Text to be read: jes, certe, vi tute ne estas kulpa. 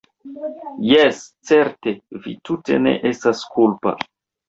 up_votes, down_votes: 2, 1